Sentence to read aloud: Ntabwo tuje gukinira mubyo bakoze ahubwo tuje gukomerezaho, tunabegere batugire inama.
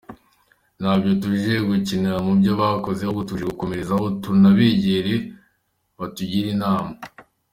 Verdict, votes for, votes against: accepted, 2, 1